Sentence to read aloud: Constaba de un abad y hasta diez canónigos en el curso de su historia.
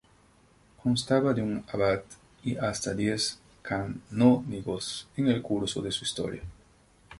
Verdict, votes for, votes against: rejected, 0, 2